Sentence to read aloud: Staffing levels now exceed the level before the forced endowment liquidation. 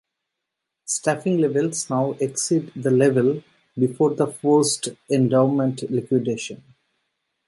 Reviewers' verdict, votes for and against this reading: rejected, 1, 2